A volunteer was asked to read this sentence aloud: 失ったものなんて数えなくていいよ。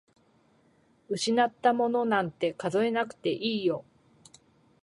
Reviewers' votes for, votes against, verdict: 0, 2, rejected